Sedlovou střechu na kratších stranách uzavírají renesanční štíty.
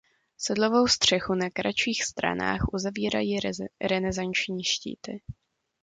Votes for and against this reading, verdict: 0, 2, rejected